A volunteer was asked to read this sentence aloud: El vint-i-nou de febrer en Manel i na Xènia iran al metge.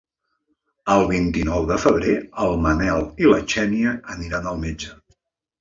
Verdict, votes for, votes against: rejected, 0, 2